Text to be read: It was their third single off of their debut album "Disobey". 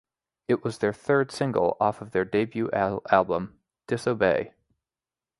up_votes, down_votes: 0, 2